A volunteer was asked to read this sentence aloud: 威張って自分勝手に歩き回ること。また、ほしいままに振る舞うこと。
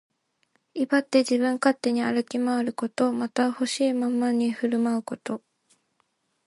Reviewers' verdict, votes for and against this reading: accepted, 2, 0